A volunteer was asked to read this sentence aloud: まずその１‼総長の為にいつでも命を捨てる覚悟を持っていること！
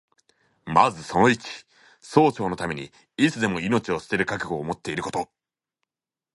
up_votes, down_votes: 0, 2